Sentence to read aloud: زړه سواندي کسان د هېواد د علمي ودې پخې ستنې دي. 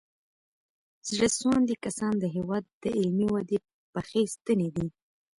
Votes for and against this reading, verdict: 2, 0, accepted